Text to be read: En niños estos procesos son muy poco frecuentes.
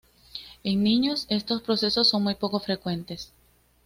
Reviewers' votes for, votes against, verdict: 2, 0, accepted